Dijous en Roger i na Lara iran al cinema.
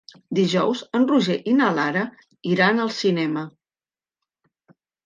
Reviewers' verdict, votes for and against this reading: accepted, 3, 0